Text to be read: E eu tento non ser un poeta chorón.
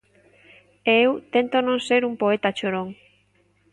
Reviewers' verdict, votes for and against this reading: accepted, 2, 0